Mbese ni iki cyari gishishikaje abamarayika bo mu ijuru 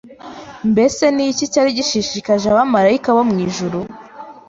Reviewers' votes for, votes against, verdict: 2, 0, accepted